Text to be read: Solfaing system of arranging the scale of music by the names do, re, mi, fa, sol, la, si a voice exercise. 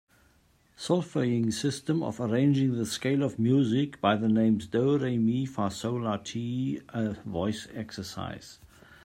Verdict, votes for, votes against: rejected, 1, 2